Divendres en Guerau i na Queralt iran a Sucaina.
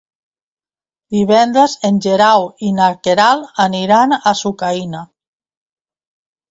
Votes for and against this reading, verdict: 1, 2, rejected